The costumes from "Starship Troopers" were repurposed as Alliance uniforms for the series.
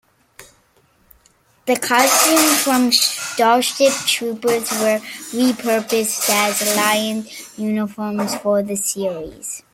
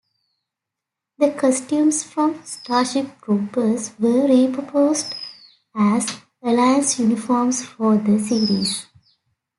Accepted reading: second